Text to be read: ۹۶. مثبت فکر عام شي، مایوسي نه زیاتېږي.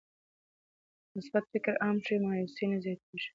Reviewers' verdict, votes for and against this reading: rejected, 0, 2